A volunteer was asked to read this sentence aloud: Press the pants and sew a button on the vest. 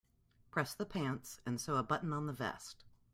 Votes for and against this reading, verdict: 2, 0, accepted